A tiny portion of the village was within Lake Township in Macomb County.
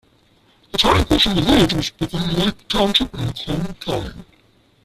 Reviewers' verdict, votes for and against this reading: rejected, 0, 2